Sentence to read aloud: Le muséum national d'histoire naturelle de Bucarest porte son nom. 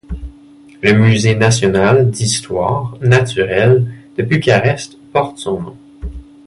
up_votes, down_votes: 0, 2